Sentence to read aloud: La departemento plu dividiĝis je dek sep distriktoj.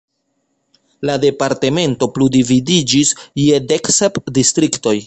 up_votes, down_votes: 2, 0